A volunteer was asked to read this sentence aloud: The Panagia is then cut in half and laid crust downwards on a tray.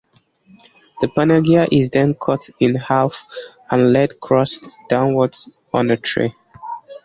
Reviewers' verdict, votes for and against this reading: accepted, 2, 0